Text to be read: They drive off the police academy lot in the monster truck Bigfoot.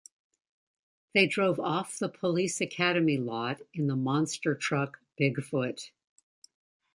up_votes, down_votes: 1, 2